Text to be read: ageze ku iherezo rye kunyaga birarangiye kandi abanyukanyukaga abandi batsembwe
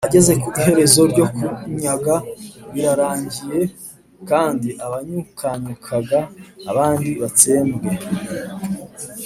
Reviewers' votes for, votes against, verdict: 2, 1, accepted